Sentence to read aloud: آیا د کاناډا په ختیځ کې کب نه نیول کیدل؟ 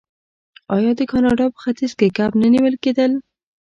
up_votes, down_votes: 2, 0